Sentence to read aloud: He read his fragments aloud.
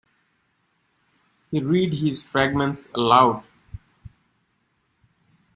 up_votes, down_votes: 1, 2